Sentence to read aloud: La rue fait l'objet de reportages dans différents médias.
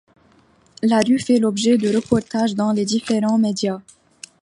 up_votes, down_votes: 1, 2